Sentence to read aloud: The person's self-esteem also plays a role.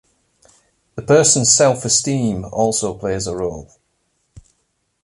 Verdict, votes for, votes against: accepted, 2, 0